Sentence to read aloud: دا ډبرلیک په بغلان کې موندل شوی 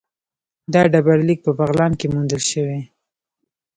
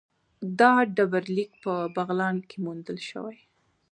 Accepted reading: second